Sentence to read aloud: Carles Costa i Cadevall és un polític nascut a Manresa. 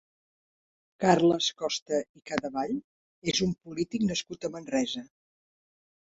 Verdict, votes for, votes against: rejected, 0, 2